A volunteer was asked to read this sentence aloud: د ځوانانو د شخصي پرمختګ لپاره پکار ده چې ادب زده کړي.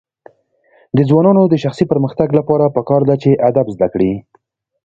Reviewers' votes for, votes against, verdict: 2, 0, accepted